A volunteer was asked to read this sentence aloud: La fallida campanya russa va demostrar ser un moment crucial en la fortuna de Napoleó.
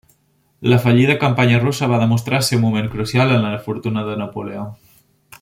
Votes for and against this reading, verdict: 1, 2, rejected